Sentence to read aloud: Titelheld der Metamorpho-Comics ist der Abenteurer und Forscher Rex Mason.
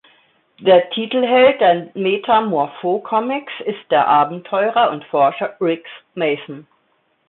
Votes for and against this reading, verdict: 0, 2, rejected